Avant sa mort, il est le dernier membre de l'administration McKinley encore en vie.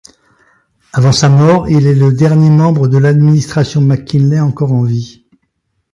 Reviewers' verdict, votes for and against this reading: accepted, 2, 0